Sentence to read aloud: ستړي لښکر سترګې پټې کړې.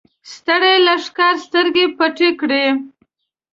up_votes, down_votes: 2, 0